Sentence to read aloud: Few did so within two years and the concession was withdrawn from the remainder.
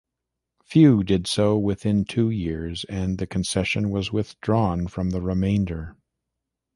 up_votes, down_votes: 2, 0